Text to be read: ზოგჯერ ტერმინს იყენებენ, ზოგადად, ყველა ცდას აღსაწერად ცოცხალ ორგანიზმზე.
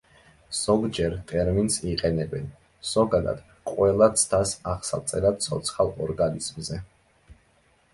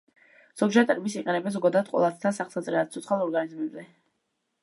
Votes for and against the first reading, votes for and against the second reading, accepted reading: 2, 0, 0, 2, first